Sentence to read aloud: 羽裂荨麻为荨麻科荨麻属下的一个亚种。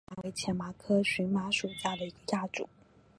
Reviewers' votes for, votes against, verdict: 0, 2, rejected